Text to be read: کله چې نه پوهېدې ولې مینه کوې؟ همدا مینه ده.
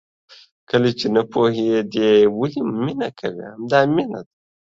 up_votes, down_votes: 2, 0